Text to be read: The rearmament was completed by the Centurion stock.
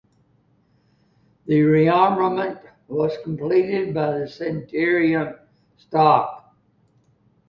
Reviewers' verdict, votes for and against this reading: accepted, 2, 0